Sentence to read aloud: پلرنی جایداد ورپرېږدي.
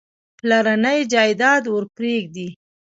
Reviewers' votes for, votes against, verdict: 2, 1, accepted